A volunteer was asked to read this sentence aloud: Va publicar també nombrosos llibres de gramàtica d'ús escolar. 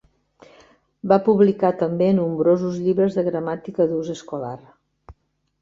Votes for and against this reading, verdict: 3, 0, accepted